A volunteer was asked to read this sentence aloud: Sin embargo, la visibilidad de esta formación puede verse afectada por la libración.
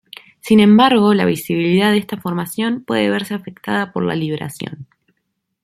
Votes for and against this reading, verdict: 1, 2, rejected